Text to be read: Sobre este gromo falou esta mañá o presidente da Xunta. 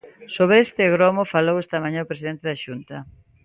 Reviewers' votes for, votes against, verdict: 2, 0, accepted